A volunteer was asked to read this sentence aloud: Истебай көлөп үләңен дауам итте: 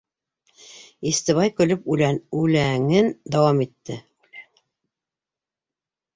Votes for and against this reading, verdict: 0, 3, rejected